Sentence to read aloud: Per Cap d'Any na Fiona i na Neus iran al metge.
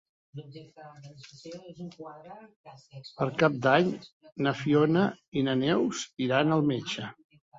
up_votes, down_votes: 3, 0